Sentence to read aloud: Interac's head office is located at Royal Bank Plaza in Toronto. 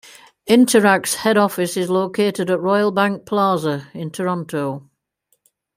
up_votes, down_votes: 2, 0